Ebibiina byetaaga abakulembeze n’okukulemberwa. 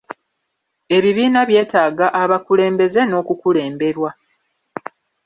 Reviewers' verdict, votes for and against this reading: accepted, 2, 1